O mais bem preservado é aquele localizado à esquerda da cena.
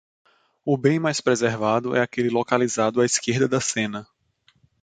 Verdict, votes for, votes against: rejected, 0, 2